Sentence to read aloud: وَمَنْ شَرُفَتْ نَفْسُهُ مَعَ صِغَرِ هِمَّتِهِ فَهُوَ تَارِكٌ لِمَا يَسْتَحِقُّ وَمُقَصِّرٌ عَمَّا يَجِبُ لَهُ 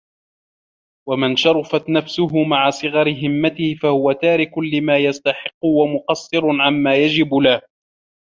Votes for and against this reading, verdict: 2, 0, accepted